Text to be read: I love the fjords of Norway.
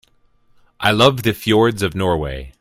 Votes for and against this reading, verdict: 2, 0, accepted